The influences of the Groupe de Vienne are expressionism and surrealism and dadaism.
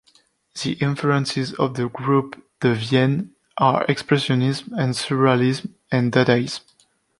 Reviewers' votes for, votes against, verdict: 2, 1, accepted